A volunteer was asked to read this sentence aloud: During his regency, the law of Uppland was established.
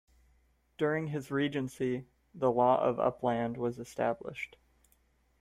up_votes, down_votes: 2, 0